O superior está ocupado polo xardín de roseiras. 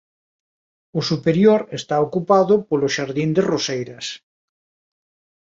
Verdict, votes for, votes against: accepted, 2, 0